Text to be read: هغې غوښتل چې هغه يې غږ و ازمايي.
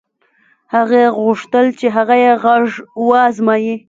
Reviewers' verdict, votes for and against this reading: rejected, 0, 2